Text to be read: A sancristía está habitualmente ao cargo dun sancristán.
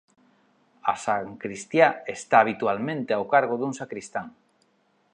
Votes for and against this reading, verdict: 2, 3, rejected